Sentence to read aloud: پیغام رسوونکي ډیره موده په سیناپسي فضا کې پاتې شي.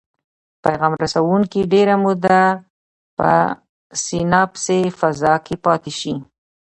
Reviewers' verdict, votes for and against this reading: accepted, 2, 0